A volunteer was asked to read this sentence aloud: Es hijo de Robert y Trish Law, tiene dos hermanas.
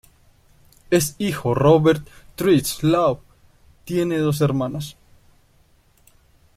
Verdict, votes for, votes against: rejected, 1, 3